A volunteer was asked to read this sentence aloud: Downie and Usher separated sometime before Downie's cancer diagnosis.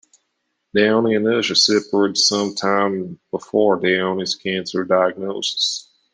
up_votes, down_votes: 2, 0